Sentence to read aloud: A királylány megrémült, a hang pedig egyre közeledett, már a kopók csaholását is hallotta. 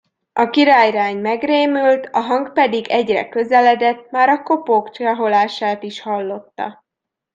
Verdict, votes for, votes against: accepted, 2, 0